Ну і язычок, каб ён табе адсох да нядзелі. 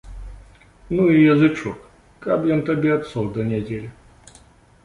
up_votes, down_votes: 2, 0